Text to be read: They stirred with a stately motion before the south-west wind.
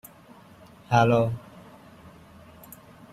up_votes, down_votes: 0, 2